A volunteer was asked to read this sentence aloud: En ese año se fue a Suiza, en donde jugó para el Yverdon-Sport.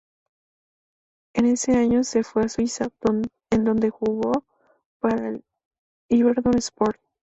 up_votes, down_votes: 2, 0